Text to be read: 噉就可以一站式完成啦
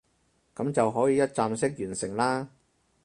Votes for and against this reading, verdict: 4, 0, accepted